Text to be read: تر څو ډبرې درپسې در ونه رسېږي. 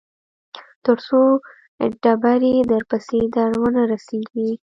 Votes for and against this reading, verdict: 2, 0, accepted